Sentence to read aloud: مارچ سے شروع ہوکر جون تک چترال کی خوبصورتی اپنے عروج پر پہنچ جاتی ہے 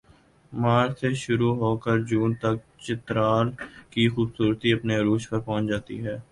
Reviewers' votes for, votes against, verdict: 2, 0, accepted